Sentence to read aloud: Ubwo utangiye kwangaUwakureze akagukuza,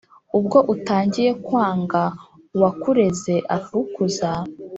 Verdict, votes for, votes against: accepted, 4, 1